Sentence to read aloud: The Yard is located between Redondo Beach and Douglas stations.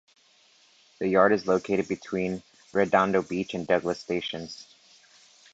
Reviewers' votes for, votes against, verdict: 2, 0, accepted